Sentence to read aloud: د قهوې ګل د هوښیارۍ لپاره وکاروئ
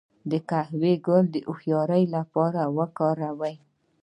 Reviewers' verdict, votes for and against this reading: rejected, 1, 2